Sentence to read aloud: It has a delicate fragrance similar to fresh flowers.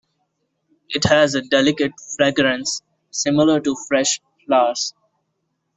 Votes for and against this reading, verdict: 2, 0, accepted